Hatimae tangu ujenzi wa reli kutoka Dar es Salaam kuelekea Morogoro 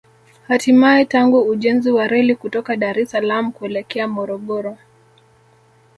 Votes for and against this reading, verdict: 1, 2, rejected